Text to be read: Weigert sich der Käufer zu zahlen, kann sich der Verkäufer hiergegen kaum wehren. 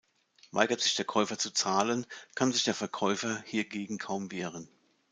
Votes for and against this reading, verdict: 2, 0, accepted